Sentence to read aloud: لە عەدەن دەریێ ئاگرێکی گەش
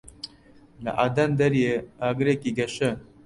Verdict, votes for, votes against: rejected, 0, 2